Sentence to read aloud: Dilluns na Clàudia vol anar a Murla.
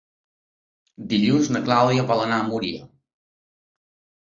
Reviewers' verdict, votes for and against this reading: rejected, 1, 2